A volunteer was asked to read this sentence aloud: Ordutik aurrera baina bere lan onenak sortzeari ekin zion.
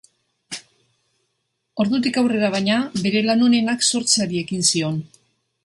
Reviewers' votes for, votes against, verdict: 4, 0, accepted